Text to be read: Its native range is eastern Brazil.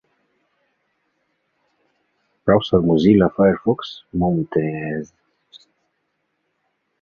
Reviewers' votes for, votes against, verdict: 1, 2, rejected